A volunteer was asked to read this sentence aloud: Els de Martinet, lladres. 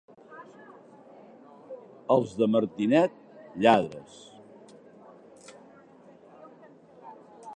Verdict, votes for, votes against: accepted, 2, 0